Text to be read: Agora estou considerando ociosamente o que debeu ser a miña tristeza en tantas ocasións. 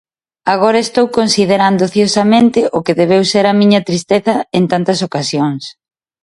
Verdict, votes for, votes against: accepted, 2, 0